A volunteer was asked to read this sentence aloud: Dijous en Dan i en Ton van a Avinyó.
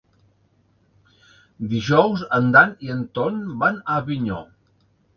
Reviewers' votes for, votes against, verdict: 3, 0, accepted